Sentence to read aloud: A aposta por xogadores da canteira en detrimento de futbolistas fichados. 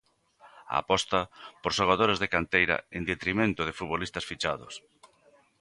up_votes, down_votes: 1, 2